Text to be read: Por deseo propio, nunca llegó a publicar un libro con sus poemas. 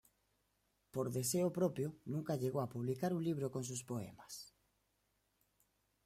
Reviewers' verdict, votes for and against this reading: accepted, 2, 0